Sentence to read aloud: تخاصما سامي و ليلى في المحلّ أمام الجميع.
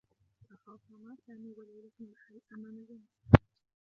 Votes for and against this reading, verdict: 0, 2, rejected